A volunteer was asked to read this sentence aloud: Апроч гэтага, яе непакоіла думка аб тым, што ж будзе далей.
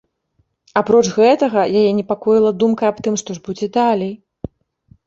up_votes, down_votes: 1, 2